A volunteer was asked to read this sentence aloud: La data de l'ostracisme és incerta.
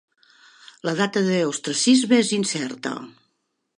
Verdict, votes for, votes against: accepted, 3, 1